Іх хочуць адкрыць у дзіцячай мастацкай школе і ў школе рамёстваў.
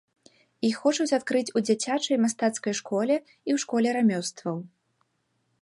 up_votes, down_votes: 2, 0